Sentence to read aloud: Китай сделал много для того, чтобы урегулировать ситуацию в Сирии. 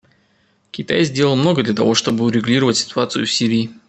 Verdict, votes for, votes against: accepted, 2, 0